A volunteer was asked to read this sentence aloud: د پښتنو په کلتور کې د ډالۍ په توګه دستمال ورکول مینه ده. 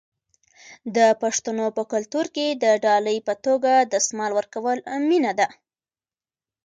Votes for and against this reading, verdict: 2, 1, accepted